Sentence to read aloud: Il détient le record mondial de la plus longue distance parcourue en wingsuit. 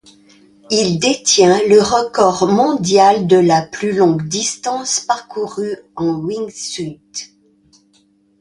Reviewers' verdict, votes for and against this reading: accepted, 2, 0